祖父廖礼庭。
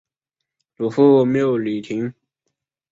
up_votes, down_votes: 7, 2